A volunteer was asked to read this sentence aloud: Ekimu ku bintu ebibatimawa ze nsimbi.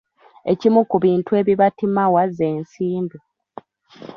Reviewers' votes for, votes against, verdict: 2, 1, accepted